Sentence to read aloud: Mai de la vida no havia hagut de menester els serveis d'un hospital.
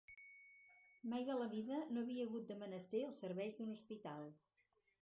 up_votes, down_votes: 2, 2